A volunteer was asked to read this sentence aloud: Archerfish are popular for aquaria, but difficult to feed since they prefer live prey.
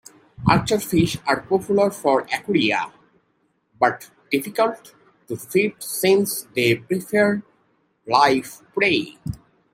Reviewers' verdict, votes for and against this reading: rejected, 0, 2